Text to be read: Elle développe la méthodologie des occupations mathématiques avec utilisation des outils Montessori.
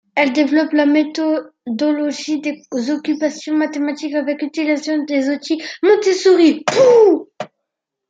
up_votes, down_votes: 0, 2